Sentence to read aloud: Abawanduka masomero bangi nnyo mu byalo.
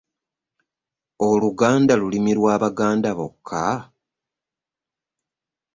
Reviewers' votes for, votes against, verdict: 0, 2, rejected